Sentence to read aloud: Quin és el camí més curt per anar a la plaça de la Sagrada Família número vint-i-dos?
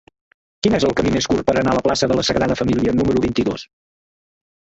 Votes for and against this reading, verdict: 0, 2, rejected